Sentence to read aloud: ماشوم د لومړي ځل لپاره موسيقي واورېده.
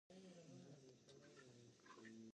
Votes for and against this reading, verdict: 1, 2, rejected